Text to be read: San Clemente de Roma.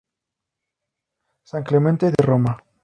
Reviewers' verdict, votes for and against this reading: accepted, 2, 0